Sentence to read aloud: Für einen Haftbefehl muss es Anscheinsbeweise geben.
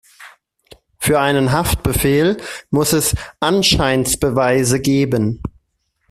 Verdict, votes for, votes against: accepted, 2, 0